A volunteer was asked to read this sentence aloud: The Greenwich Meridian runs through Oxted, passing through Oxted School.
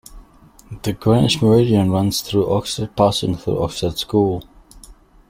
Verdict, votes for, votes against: accepted, 2, 1